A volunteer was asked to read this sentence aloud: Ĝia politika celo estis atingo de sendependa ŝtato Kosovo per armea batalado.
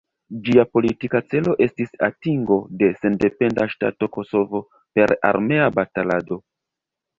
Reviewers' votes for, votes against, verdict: 0, 2, rejected